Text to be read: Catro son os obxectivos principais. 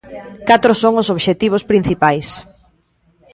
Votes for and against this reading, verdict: 2, 0, accepted